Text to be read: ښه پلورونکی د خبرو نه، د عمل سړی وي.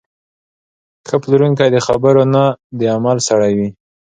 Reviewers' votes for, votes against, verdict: 2, 0, accepted